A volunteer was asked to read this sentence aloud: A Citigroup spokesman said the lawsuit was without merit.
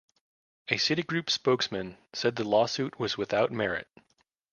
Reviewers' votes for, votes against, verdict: 2, 0, accepted